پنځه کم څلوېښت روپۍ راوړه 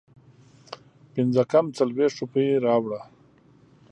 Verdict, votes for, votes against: accepted, 2, 0